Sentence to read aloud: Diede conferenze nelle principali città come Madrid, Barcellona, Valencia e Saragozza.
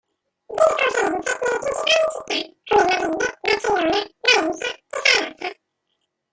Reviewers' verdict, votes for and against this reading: rejected, 0, 2